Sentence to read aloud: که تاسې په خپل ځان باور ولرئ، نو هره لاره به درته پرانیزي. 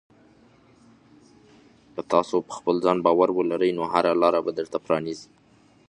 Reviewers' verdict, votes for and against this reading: accepted, 2, 0